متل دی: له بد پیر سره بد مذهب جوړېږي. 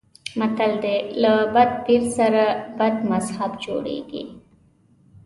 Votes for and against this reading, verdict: 2, 0, accepted